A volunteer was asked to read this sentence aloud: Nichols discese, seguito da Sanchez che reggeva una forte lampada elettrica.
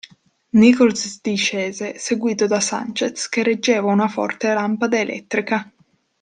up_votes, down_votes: 2, 1